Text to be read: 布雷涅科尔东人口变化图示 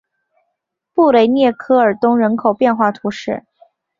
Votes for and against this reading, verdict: 2, 0, accepted